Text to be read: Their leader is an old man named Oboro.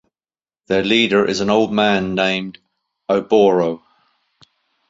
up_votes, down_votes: 2, 0